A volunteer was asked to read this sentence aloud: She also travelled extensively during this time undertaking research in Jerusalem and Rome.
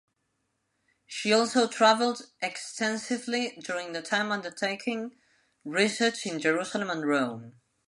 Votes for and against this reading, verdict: 0, 2, rejected